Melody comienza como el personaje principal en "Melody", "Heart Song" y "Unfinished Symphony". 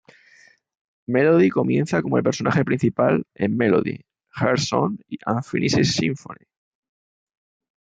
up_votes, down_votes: 2, 0